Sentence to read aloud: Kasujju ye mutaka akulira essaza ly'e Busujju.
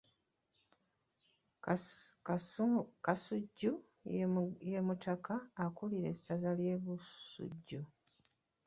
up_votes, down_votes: 0, 2